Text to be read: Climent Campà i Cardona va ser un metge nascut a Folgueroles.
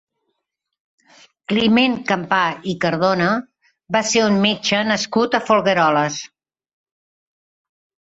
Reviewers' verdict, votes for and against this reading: accepted, 4, 0